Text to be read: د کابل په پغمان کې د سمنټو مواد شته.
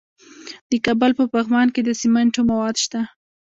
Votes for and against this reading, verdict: 0, 2, rejected